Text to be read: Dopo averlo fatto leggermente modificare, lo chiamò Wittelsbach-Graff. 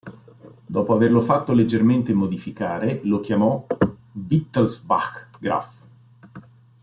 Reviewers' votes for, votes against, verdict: 2, 0, accepted